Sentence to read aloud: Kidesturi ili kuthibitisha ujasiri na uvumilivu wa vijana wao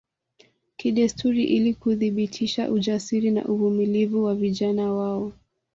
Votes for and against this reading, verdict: 2, 0, accepted